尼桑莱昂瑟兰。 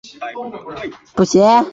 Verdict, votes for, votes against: rejected, 0, 2